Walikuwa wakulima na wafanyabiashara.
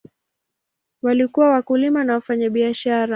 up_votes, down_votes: 2, 0